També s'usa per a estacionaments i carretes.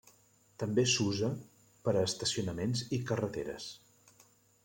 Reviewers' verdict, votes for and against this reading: rejected, 0, 2